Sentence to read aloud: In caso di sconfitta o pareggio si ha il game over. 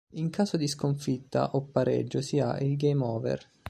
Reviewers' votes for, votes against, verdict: 2, 0, accepted